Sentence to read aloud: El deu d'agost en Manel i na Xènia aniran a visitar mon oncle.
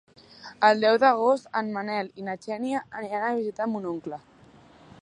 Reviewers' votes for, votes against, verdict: 2, 0, accepted